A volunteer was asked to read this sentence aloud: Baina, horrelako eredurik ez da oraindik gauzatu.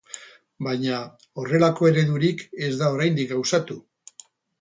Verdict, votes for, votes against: accepted, 10, 0